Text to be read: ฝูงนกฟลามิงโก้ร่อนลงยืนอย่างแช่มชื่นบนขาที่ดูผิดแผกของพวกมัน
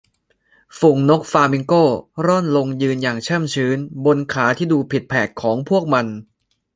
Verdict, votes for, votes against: rejected, 0, 2